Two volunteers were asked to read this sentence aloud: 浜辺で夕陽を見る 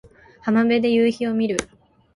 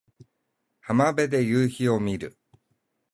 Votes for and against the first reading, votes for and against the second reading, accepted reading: 3, 6, 8, 0, second